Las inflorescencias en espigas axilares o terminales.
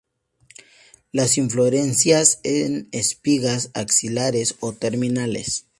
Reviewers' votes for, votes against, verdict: 0, 2, rejected